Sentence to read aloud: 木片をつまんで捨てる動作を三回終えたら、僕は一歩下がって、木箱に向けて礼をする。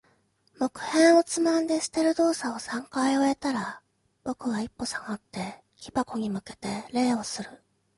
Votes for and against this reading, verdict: 2, 0, accepted